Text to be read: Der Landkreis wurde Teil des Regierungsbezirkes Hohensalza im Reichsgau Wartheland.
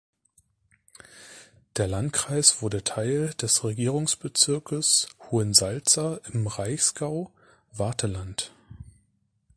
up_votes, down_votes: 2, 0